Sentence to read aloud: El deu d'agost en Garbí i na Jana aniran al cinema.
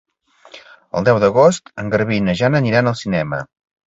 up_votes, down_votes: 2, 0